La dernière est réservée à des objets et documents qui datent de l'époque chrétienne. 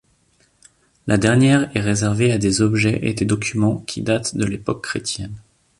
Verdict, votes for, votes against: rejected, 1, 2